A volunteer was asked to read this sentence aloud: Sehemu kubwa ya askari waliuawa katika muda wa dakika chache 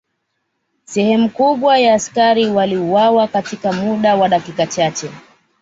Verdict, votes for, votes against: accepted, 2, 1